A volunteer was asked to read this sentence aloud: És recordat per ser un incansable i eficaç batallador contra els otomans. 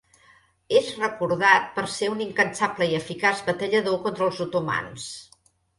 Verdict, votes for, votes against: accepted, 3, 0